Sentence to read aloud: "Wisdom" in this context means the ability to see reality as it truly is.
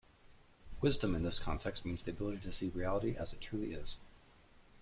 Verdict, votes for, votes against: accepted, 2, 0